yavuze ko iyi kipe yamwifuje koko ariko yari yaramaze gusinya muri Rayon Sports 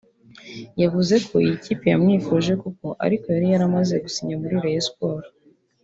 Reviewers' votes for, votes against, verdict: 2, 1, accepted